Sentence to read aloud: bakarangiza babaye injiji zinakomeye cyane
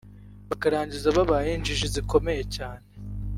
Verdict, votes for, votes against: rejected, 1, 2